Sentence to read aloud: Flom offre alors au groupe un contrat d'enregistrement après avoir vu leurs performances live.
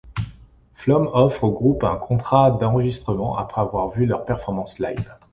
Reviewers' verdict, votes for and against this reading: rejected, 1, 2